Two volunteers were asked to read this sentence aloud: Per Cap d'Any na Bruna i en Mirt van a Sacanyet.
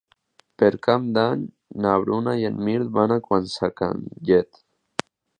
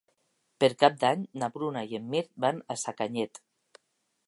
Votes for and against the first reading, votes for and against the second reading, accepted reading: 0, 3, 4, 0, second